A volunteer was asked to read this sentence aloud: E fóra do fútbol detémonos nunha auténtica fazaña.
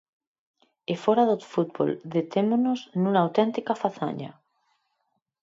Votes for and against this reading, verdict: 4, 0, accepted